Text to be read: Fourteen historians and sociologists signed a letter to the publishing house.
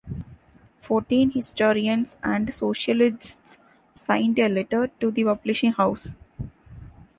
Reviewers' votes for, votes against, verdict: 0, 2, rejected